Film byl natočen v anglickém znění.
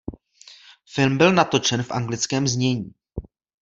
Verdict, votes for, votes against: accepted, 2, 0